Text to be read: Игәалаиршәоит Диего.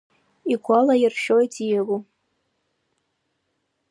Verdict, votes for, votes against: accepted, 4, 0